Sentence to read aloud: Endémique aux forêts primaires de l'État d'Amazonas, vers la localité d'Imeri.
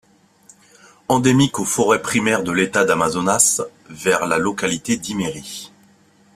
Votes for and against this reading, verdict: 2, 0, accepted